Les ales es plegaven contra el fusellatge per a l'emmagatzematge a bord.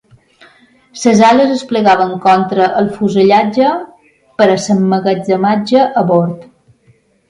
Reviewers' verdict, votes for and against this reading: rejected, 0, 2